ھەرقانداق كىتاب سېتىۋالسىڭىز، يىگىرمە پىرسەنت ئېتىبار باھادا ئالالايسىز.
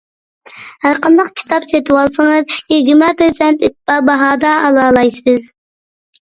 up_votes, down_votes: 2, 1